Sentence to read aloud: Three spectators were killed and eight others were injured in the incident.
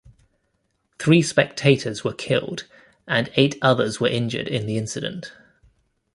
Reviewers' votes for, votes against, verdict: 2, 0, accepted